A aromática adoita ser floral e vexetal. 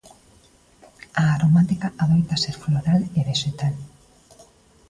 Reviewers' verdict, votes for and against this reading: accepted, 2, 0